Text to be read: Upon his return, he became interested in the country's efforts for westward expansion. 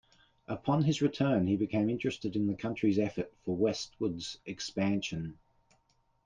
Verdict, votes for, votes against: rejected, 1, 2